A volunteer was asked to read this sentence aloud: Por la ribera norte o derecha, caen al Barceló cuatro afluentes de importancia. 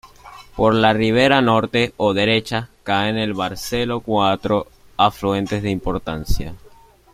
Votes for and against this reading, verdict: 0, 2, rejected